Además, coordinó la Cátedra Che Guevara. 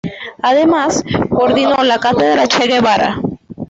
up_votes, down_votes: 2, 1